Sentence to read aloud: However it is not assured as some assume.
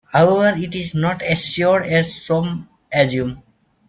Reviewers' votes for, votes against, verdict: 2, 1, accepted